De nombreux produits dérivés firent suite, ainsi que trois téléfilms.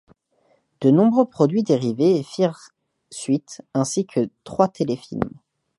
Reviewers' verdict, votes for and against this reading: accepted, 2, 1